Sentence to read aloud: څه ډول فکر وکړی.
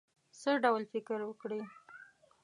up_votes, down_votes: 1, 2